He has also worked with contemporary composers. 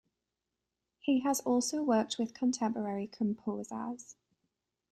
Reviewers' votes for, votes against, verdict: 1, 2, rejected